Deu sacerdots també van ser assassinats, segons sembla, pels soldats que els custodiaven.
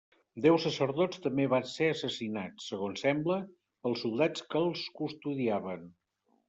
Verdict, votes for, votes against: accepted, 2, 0